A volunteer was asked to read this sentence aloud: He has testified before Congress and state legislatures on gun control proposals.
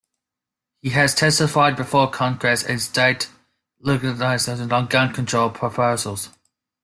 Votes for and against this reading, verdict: 0, 2, rejected